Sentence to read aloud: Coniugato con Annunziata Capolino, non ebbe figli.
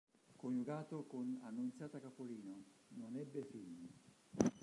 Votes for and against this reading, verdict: 1, 3, rejected